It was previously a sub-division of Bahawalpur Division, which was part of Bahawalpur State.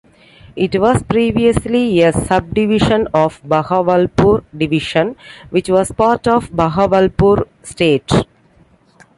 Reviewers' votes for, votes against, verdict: 2, 0, accepted